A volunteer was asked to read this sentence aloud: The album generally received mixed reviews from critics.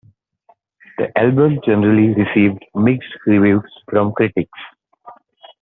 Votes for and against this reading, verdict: 2, 0, accepted